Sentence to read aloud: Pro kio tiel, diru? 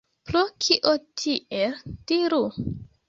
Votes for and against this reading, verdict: 2, 0, accepted